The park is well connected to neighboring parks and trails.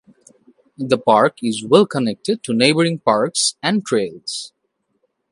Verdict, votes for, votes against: accepted, 2, 0